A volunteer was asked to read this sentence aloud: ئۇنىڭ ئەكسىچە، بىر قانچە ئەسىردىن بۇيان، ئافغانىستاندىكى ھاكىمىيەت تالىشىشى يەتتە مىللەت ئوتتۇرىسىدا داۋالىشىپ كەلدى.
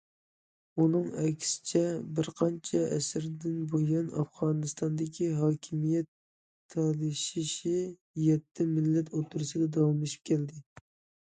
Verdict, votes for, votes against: rejected, 1, 2